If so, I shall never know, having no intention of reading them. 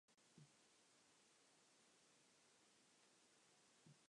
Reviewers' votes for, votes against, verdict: 0, 2, rejected